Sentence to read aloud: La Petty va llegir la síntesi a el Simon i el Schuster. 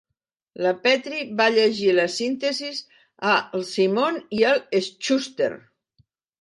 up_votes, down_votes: 1, 2